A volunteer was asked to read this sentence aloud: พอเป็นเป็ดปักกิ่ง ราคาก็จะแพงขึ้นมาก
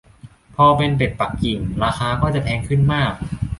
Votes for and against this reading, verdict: 2, 0, accepted